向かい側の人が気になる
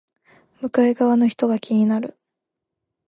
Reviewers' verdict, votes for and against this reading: accepted, 2, 0